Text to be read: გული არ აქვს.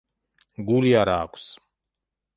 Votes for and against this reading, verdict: 2, 1, accepted